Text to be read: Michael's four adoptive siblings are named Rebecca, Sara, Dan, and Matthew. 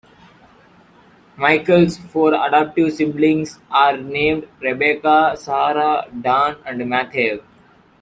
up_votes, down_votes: 2, 0